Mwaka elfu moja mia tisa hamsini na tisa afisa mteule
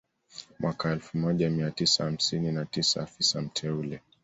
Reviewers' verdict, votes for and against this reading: accepted, 2, 0